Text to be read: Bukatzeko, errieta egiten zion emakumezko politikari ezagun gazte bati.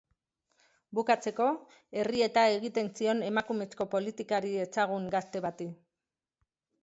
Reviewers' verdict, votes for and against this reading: accepted, 3, 0